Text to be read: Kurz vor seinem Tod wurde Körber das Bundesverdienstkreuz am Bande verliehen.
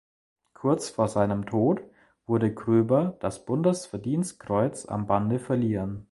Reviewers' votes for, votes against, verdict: 0, 2, rejected